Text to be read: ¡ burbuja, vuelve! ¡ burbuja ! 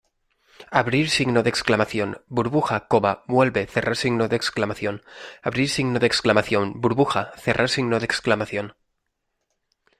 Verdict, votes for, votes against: rejected, 0, 2